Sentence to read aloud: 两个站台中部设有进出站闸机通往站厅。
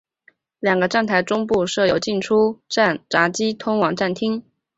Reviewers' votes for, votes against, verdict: 2, 0, accepted